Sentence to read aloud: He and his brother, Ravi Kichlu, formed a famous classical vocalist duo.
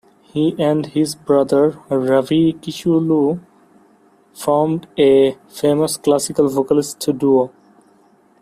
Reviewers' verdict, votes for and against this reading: accepted, 2, 0